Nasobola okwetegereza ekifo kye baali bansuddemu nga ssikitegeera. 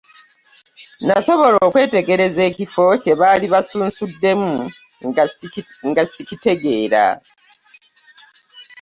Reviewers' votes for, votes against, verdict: 1, 2, rejected